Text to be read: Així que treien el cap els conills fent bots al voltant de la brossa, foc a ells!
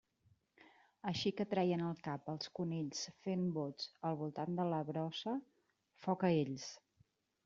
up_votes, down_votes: 2, 0